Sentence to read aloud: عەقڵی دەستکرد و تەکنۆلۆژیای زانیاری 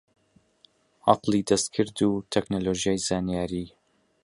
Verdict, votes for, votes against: accepted, 3, 0